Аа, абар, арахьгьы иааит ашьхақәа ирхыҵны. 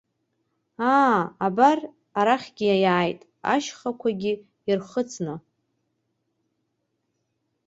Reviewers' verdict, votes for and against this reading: rejected, 1, 2